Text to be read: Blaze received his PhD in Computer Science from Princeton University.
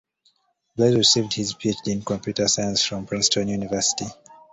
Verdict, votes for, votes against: accepted, 2, 0